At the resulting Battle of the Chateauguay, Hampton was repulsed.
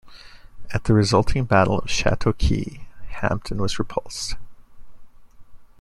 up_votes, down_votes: 2, 0